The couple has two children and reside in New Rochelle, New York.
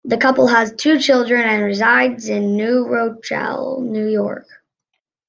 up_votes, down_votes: 0, 2